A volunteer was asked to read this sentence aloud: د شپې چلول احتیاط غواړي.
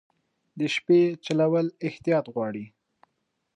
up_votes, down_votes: 2, 0